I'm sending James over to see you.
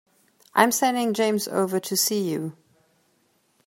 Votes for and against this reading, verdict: 2, 0, accepted